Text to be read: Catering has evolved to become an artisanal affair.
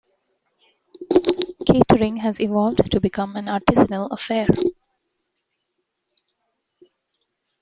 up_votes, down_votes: 2, 1